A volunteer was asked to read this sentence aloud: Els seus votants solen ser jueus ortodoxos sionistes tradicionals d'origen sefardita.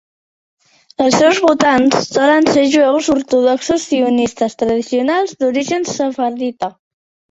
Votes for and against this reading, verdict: 2, 0, accepted